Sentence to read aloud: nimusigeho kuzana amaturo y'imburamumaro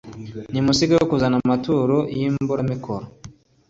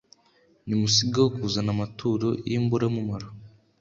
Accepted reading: second